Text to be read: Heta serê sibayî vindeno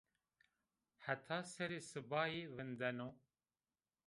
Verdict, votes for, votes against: rejected, 1, 2